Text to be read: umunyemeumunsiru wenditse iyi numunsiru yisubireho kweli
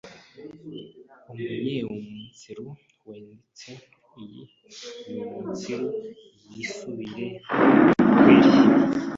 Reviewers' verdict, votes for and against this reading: rejected, 0, 2